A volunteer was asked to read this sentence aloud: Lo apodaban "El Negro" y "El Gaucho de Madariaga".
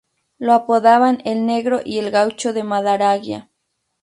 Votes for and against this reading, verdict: 2, 6, rejected